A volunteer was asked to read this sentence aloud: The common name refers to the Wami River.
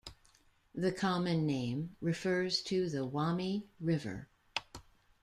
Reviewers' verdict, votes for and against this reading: accepted, 2, 0